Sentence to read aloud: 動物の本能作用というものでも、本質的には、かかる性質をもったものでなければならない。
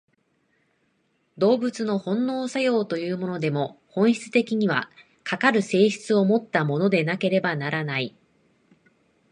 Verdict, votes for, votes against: accepted, 3, 0